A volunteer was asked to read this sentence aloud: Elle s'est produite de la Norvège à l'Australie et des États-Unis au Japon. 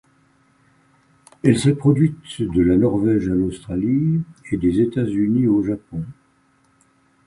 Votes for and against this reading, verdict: 1, 2, rejected